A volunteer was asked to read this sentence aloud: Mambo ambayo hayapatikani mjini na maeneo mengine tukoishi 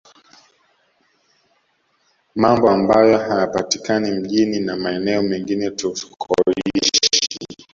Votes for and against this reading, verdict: 0, 2, rejected